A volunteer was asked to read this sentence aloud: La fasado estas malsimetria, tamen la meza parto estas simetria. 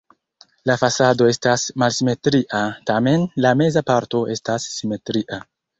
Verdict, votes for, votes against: accepted, 2, 0